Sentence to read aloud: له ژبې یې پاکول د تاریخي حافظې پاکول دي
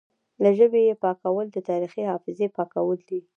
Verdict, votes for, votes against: accepted, 2, 0